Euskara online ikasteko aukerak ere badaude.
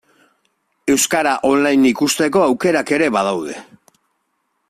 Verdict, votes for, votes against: rejected, 0, 2